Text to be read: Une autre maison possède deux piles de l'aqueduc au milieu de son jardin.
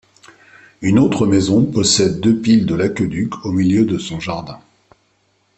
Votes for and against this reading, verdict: 2, 0, accepted